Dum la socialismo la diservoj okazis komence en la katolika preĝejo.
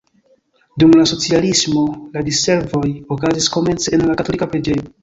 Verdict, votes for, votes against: rejected, 0, 3